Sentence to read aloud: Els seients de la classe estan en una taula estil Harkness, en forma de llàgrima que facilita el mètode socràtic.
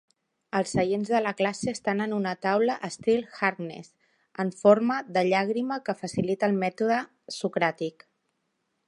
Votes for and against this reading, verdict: 3, 0, accepted